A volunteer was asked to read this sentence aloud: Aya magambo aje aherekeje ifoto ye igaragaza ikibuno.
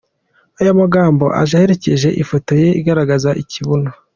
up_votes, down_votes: 2, 0